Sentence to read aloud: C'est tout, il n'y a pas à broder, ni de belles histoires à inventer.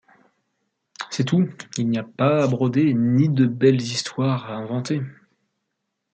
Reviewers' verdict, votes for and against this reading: accepted, 2, 1